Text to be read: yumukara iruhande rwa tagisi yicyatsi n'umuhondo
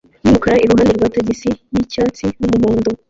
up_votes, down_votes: 1, 2